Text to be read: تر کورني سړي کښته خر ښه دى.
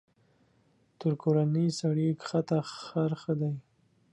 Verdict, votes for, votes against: rejected, 1, 2